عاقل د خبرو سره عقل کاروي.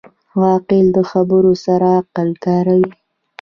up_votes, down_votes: 2, 0